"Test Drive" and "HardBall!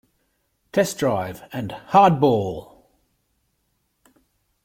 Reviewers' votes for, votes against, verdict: 2, 0, accepted